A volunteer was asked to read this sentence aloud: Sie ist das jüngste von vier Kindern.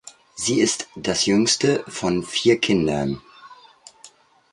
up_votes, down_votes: 2, 0